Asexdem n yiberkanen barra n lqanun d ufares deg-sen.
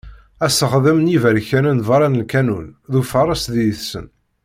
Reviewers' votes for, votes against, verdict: 0, 2, rejected